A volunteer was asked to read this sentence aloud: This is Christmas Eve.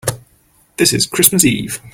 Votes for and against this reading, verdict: 4, 0, accepted